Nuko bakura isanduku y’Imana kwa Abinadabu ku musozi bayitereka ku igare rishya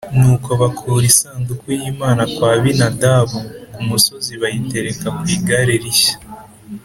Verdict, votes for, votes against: accepted, 3, 0